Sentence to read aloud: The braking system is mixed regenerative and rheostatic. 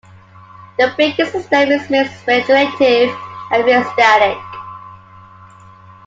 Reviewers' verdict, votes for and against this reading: rejected, 1, 2